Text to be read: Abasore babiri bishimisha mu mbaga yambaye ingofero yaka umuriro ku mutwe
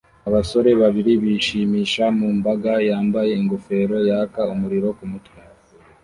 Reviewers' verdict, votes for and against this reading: accepted, 2, 0